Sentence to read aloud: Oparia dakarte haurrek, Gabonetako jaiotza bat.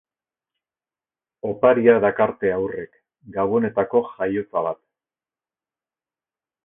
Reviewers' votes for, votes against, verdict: 2, 0, accepted